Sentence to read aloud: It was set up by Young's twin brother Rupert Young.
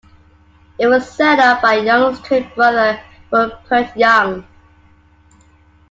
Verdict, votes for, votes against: accepted, 2, 1